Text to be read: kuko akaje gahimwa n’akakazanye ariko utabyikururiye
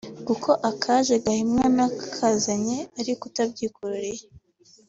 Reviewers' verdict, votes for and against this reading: rejected, 1, 2